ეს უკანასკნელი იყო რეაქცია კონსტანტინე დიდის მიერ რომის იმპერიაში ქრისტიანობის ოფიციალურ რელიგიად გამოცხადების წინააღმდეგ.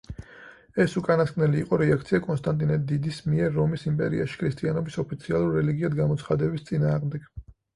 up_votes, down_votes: 4, 0